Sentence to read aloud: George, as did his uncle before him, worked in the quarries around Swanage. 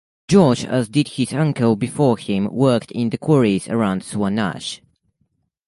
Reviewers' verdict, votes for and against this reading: accepted, 2, 0